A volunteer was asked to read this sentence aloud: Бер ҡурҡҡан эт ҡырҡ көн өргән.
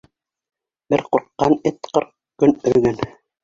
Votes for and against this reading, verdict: 0, 2, rejected